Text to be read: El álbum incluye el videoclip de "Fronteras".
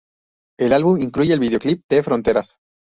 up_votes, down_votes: 2, 0